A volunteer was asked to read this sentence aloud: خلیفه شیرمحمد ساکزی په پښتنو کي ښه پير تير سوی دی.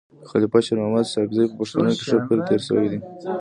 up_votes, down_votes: 2, 0